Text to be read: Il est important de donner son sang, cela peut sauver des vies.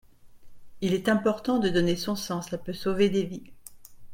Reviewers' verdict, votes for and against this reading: rejected, 1, 2